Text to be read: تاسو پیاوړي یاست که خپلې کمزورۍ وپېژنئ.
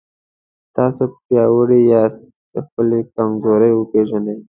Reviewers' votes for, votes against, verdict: 2, 0, accepted